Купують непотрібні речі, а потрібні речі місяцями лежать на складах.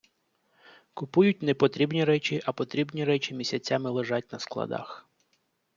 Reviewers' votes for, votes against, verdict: 2, 0, accepted